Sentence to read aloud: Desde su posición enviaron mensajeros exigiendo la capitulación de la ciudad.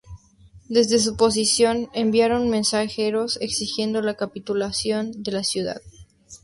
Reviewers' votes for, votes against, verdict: 2, 0, accepted